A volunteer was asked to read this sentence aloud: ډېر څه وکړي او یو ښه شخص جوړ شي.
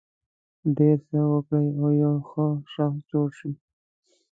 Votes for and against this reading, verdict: 2, 0, accepted